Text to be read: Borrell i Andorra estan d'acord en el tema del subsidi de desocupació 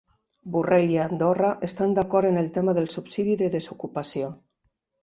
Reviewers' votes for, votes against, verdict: 4, 0, accepted